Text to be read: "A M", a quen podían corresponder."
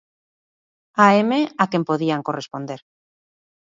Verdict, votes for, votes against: accepted, 2, 0